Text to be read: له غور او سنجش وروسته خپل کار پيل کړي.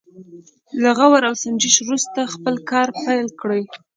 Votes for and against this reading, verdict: 1, 2, rejected